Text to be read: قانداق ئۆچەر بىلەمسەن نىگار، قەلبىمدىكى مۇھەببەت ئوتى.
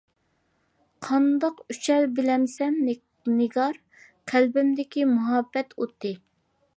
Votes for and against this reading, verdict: 0, 2, rejected